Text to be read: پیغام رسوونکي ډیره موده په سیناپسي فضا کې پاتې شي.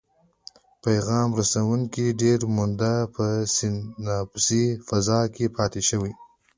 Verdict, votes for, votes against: rejected, 1, 2